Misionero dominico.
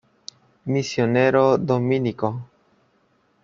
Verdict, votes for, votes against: accepted, 2, 0